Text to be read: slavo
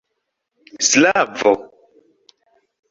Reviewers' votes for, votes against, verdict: 2, 0, accepted